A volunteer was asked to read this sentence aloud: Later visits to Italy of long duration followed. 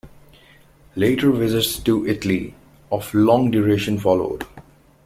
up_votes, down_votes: 2, 0